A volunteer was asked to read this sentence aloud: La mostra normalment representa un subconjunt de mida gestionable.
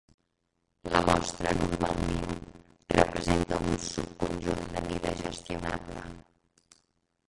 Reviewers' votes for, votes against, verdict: 0, 2, rejected